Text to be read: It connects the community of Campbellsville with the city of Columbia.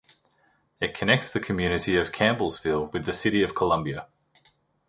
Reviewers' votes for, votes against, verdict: 2, 0, accepted